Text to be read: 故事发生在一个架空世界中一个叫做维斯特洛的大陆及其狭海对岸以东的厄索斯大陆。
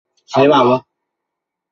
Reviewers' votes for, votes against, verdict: 0, 2, rejected